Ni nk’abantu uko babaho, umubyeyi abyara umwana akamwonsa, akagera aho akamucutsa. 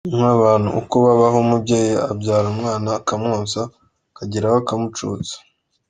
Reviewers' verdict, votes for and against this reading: accepted, 2, 0